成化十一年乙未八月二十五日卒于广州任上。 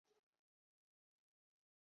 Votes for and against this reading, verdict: 0, 2, rejected